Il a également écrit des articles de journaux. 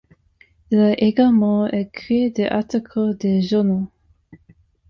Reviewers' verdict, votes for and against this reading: accepted, 2, 0